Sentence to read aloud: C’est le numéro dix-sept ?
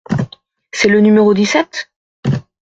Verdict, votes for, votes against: accepted, 2, 0